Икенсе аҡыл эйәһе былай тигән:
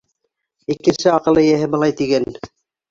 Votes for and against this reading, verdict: 1, 2, rejected